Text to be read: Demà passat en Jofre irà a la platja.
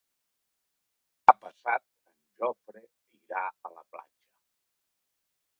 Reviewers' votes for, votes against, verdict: 0, 2, rejected